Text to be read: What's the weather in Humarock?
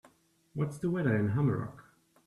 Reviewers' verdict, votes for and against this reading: accepted, 3, 1